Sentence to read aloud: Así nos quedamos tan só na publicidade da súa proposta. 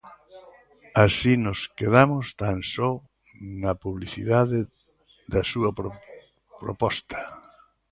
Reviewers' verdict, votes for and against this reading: rejected, 0, 2